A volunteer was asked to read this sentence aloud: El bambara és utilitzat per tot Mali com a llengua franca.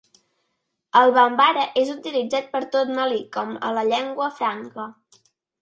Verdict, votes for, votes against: rejected, 1, 2